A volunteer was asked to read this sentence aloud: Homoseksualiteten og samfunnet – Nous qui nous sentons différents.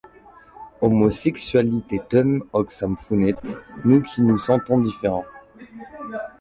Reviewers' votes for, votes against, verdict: 1, 2, rejected